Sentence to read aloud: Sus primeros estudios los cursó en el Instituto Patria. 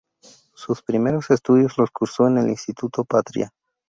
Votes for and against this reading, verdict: 2, 0, accepted